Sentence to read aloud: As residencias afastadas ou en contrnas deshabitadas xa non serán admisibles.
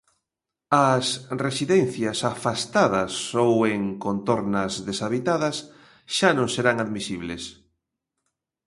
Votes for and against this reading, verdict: 0, 2, rejected